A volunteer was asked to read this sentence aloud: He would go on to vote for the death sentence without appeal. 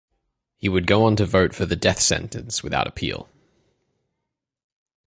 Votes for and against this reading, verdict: 2, 0, accepted